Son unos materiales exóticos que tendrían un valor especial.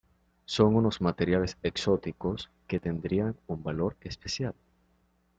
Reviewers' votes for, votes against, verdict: 2, 0, accepted